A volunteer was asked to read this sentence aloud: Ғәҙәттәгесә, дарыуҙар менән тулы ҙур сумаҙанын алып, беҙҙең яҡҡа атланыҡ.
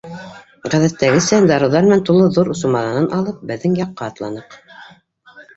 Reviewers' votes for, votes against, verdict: 0, 2, rejected